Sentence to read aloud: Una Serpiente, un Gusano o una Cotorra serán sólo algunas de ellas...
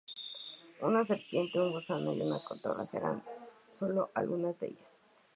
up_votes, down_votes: 2, 0